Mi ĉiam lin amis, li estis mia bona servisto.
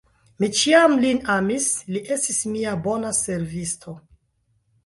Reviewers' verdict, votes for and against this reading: rejected, 1, 2